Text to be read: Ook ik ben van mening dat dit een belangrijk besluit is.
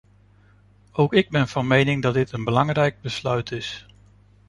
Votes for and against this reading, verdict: 2, 0, accepted